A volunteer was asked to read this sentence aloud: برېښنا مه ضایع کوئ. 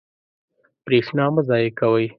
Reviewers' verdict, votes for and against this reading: accepted, 2, 0